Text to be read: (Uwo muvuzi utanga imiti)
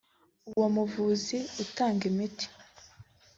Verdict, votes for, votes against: accepted, 2, 0